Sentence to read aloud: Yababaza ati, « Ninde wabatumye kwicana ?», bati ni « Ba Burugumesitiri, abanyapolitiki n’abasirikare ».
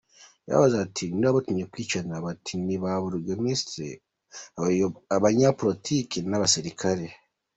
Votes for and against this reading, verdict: 1, 2, rejected